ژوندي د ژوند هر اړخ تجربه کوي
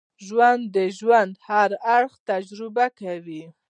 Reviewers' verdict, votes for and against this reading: accepted, 2, 0